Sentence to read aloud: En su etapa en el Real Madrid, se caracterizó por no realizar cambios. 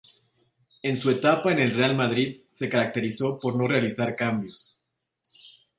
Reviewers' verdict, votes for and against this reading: accepted, 2, 0